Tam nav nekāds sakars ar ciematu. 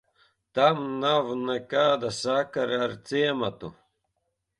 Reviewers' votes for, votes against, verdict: 1, 2, rejected